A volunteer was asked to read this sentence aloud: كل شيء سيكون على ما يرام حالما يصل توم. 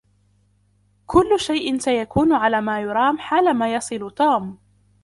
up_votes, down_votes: 2, 0